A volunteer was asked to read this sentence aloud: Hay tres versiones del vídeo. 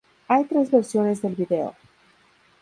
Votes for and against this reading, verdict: 0, 2, rejected